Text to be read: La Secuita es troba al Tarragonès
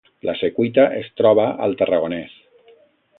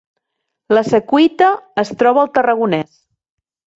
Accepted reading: first